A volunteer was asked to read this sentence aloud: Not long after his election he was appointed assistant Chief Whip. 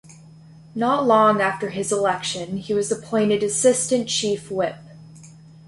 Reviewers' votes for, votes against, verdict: 2, 0, accepted